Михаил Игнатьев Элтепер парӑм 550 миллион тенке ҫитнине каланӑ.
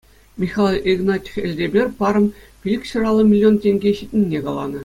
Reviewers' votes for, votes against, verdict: 0, 2, rejected